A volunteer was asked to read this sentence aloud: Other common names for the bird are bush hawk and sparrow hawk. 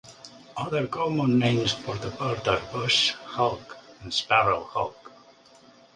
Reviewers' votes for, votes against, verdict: 2, 0, accepted